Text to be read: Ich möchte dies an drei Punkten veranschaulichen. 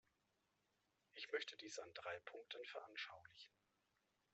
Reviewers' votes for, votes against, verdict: 2, 0, accepted